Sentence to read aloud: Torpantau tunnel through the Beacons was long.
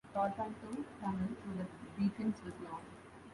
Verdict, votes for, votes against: rejected, 2, 3